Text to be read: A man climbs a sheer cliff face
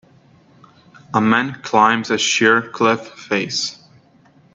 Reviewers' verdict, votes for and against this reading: accepted, 2, 1